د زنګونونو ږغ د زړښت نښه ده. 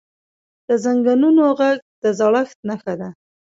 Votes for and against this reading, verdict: 2, 0, accepted